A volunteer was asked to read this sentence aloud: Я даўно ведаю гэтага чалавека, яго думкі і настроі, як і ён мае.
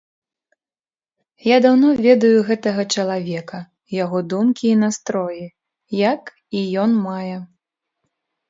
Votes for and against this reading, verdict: 1, 2, rejected